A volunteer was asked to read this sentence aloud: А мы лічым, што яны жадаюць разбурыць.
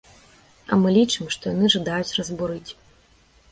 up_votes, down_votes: 2, 0